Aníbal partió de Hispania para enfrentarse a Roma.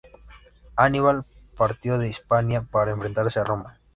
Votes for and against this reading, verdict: 1, 2, rejected